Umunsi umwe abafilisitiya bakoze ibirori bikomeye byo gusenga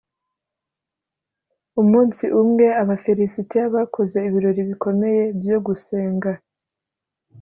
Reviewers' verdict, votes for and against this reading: accepted, 2, 0